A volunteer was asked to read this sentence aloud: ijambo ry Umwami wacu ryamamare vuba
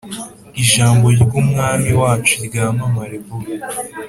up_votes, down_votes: 4, 0